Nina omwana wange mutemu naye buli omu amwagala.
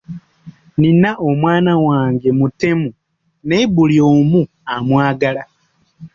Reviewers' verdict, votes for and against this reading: rejected, 1, 2